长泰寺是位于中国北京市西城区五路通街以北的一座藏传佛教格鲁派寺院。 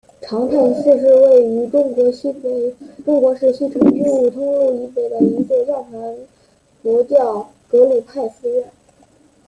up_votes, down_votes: 0, 2